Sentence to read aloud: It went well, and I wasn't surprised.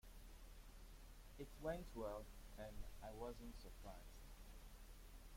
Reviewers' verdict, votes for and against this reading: rejected, 1, 2